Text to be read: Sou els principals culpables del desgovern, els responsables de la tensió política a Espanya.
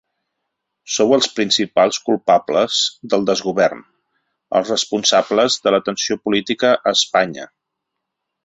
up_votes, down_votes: 2, 0